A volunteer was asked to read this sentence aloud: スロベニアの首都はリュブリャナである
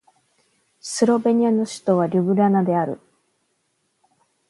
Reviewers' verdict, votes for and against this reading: accepted, 11, 0